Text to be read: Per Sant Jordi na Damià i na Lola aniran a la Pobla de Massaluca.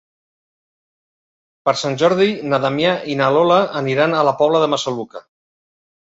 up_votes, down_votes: 3, 0